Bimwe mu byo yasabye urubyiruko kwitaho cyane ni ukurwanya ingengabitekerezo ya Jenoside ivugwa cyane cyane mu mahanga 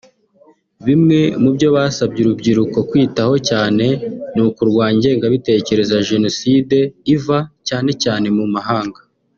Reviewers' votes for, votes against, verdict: 0, 2, rejected